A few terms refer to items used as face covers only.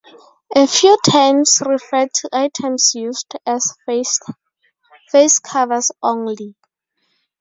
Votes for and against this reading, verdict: 2, 2, rejected